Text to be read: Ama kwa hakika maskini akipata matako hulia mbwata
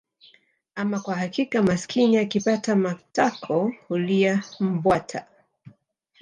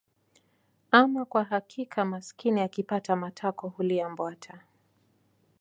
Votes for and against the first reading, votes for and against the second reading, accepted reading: 1, 2, 2, 0, second